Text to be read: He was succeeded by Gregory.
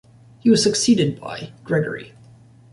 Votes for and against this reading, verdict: 2, 0, accepted